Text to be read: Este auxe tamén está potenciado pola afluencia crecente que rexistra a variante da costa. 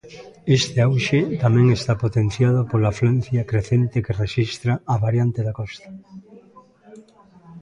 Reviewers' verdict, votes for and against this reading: rejected, 1, 2